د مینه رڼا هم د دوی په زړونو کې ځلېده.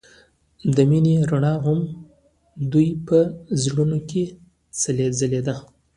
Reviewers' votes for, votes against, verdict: 2, 1, accepted